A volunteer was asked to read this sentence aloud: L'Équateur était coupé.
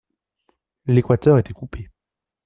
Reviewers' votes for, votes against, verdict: 2, 0, accepted